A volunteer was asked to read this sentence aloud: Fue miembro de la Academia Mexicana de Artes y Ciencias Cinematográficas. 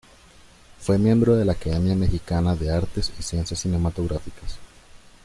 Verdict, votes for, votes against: accepted, 2, 0